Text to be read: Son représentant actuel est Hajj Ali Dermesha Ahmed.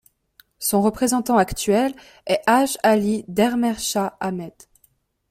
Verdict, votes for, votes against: accepted, 2, 0